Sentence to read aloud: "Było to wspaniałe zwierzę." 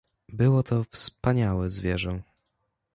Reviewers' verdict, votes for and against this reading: accepted, 2, 0